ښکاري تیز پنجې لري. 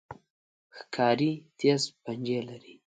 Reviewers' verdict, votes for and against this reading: accepted, 2, 0